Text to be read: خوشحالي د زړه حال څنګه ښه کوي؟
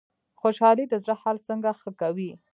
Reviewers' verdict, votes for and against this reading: rejected, 0, 2